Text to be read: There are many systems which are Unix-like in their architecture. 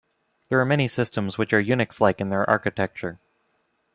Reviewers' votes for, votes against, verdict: 2, 0, accepted